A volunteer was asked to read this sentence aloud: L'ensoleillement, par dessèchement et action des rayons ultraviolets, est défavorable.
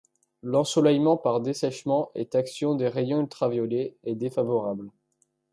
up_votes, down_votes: 1, 2